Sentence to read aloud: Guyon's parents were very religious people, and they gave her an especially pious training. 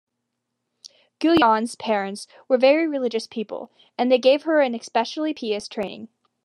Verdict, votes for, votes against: accepted, 2, 0